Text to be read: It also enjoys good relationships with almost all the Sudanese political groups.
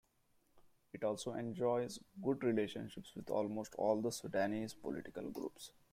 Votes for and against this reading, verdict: 1, 2, rejected